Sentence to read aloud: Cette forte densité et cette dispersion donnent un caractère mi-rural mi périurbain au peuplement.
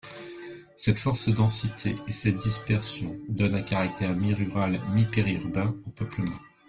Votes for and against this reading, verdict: 0, 2, rejected